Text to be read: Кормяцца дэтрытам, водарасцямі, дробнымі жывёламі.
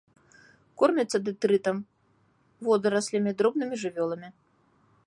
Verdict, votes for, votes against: rejected, 1, 2